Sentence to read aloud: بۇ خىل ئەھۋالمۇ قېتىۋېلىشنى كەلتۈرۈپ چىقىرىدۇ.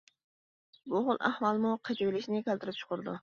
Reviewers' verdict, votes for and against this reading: accepted, 2, 1